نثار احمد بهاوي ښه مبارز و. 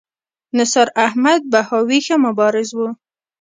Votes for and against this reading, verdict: 1, 2, rejected